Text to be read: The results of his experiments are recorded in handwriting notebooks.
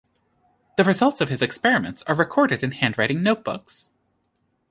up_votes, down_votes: 2, 0